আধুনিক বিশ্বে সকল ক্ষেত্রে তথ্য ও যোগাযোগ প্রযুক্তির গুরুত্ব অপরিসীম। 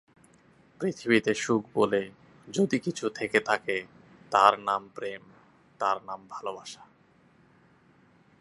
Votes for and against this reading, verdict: 0, 3, rejected